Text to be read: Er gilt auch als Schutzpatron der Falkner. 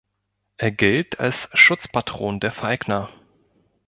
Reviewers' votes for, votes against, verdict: 0, 2, rejected